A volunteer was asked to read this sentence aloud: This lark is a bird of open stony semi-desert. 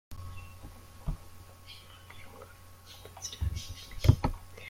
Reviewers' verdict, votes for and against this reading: rejected, 0, 2